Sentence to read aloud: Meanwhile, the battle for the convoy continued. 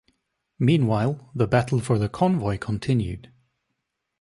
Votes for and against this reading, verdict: 2, 0, accepted